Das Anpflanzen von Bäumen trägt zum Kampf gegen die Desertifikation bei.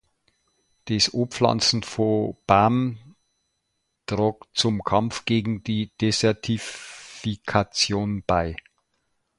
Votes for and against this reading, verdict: 0, 2, rejected